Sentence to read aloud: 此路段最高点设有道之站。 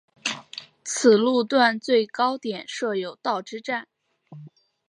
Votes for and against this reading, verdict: 6, 0, accepted